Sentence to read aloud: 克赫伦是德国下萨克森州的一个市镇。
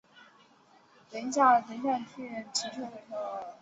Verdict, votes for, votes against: rejected, 0, 3